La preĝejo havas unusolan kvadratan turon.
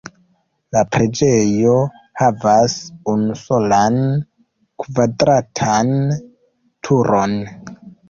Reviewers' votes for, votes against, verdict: 2, 0, accepted